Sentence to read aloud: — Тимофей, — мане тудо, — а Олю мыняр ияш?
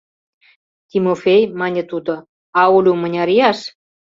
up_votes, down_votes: 2, 0